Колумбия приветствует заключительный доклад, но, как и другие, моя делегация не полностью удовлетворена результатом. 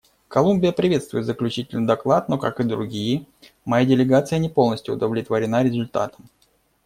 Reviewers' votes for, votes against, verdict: 2, 0, accepted